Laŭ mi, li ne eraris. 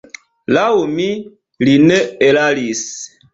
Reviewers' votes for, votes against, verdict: 2, 0, accepted